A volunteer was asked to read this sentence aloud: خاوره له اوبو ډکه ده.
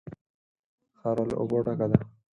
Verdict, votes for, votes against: accepted, 4, 0